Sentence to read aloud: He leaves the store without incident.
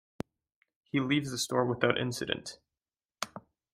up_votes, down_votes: 2, 0